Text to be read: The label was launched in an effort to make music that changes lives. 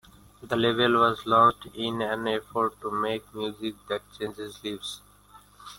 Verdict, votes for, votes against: rejected, 1, 2